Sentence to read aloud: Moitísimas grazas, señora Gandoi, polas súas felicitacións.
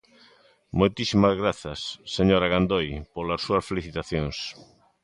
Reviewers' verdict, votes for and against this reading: accepted, 3, 0